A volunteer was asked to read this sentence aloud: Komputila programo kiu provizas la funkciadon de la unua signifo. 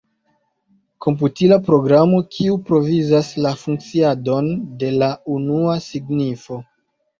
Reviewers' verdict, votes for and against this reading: accepted, 2, 0